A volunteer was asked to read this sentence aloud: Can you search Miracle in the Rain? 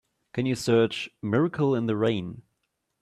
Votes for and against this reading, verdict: 2, 0, accepted